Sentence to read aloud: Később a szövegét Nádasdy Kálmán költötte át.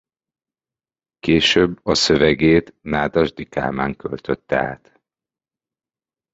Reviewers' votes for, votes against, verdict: 2, 0, accepted